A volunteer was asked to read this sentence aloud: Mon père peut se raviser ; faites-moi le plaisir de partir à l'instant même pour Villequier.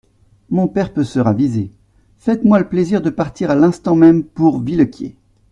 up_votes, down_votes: 2, 0